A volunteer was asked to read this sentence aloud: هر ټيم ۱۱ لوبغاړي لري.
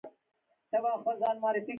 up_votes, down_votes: 0, 2